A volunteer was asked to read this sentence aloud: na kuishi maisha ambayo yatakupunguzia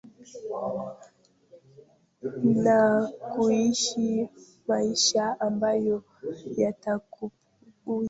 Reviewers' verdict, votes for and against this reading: rejected, 1, 3